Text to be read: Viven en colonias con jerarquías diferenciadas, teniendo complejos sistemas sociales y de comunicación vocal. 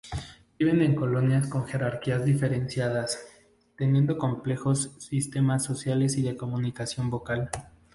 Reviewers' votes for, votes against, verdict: 2, 0, accepted